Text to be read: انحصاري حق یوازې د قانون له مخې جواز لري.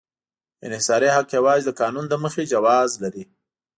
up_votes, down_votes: 2, 0